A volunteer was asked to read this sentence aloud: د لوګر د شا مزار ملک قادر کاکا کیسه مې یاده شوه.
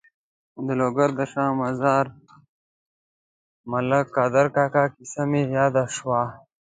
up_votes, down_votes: 2, 0